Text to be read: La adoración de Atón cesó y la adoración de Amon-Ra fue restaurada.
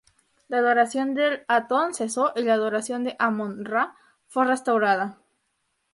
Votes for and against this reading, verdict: 2, 0, accepted